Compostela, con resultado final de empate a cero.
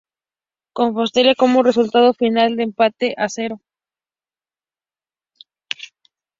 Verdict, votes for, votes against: rejected, 0, 2